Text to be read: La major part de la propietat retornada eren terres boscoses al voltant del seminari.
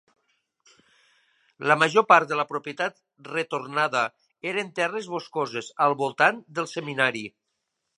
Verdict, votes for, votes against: accepted, 3, 0